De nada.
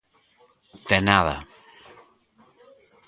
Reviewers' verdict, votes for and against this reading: rejected, 0, 2